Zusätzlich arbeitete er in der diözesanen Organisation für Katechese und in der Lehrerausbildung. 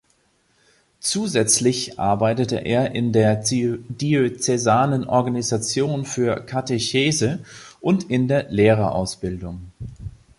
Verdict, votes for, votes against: rejected, 0, 2